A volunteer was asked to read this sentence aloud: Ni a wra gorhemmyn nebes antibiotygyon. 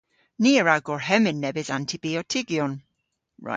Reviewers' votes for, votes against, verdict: 0, 2, rejected